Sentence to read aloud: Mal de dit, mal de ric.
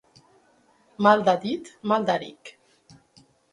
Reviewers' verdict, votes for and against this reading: rejected, 0, 2